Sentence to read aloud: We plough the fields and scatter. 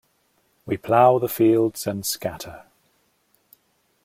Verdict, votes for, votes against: accepted, 2, 0